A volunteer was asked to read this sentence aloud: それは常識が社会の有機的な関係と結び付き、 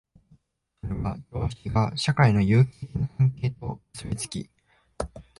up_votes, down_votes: 1, 2